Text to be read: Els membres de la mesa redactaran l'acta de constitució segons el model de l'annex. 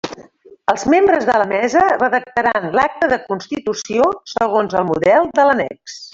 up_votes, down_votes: 0, 2